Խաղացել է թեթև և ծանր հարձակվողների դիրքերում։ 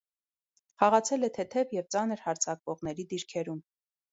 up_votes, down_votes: 2, 0